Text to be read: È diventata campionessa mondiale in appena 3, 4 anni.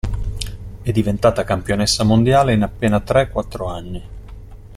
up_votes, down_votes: 0, 2